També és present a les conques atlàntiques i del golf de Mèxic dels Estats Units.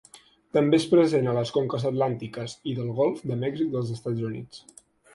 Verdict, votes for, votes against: accepted, 9, 0